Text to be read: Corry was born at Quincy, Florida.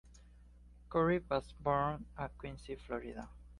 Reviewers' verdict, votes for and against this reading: accepted, 2, 0